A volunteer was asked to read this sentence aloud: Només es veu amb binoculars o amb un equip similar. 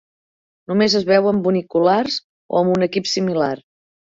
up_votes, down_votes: 1, 2